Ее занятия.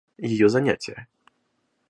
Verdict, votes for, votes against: accepted, 2, 1